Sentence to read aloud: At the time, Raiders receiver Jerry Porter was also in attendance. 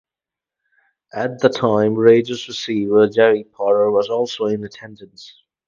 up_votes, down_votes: 0, 2